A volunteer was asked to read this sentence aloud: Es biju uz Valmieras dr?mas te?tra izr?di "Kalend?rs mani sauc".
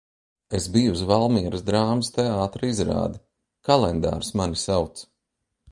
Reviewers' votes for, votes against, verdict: 0, 2, rejected